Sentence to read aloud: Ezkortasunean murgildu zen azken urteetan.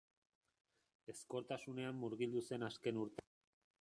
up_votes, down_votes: 0, 4